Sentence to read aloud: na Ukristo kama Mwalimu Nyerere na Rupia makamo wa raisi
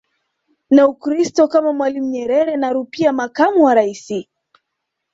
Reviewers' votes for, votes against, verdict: 2, 0, accepted